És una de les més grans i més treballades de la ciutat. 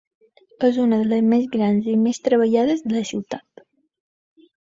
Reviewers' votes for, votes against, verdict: 2, 0, accepted